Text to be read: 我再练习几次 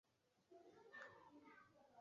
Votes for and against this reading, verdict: 3, 6, rejected